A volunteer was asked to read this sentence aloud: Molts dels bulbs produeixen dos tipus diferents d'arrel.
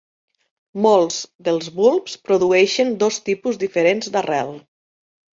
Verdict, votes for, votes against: accepted, 2, 0